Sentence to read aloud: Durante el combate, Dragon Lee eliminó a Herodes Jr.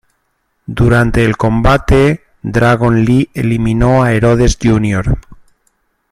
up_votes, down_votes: 0, 2